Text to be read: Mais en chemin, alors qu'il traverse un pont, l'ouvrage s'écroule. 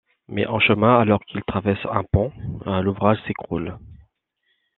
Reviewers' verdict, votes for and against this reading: accepted, 2, 0